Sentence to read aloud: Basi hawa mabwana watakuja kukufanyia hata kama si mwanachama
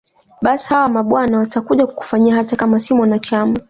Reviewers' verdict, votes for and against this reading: accepted, 2, 0